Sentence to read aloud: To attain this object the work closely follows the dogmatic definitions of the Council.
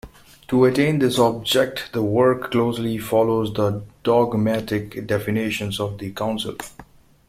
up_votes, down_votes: 2, 0